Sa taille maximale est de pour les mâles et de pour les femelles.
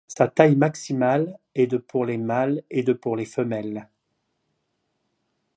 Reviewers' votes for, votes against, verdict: 2, 0, accepted